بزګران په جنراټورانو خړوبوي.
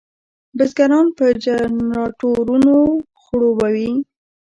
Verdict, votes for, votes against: rejected, 0, 2